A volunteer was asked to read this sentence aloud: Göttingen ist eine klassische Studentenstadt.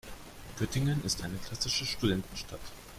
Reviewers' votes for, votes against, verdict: 2, 0, accepted